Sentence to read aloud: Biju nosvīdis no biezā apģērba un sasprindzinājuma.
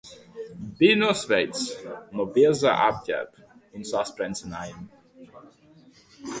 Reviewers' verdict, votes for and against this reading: rejected, 1, 2